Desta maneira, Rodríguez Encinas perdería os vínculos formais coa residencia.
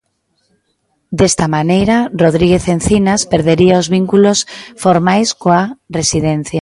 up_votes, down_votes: 2, 0